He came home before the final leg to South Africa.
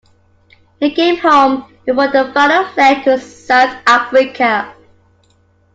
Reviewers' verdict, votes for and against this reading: accepted, 2, 1